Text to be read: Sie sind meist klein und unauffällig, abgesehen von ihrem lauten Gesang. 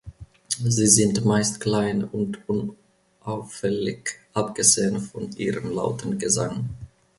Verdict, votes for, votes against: rejected, 1, 2